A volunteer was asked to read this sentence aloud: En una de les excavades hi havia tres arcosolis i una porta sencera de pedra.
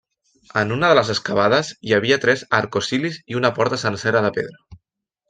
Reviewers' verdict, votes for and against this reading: rejected, 0, 2